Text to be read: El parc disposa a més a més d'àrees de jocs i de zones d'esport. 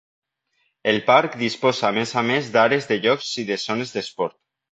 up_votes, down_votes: 2, 0